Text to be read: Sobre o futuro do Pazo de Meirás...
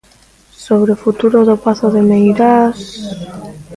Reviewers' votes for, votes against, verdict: 0, 2, rejected